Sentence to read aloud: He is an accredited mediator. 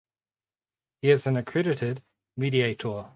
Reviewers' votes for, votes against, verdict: 4, 0, accepted